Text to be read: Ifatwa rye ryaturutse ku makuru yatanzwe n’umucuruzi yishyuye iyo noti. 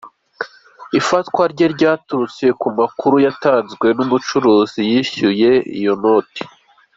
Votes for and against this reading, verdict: 2, 0, accepted